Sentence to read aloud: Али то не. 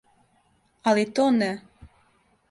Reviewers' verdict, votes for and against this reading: accepted, 2, 0